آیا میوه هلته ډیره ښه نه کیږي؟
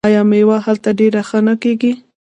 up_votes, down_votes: 1, 2